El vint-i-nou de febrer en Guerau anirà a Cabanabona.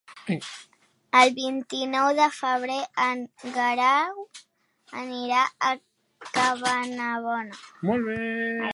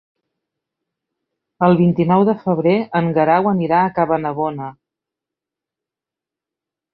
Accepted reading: second